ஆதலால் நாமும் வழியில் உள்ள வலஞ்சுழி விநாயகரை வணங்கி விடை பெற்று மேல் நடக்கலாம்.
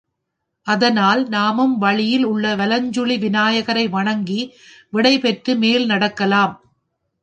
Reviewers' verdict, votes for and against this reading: rejected, 1, 2